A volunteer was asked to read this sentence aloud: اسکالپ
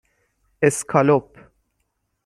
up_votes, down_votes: 6, 0